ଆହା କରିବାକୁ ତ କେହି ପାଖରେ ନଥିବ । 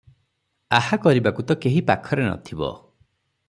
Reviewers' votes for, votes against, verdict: 6, 0, accepted